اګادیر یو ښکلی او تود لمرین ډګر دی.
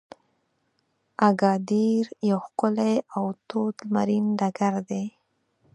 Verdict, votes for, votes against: accepted, 4, 0